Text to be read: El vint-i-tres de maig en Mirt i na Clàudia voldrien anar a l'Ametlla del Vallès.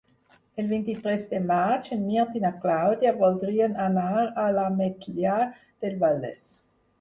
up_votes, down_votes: 2, 4